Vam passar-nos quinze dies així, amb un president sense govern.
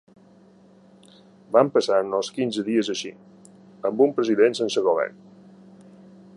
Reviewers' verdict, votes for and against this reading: accepted, 2, 0